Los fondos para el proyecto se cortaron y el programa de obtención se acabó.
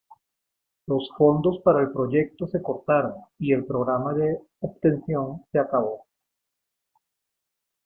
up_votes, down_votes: 2, 1